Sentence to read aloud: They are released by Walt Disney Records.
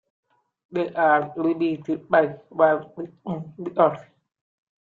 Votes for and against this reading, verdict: 0, 2, rejected